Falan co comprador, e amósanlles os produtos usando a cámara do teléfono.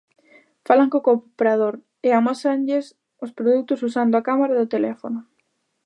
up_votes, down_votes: 0, 2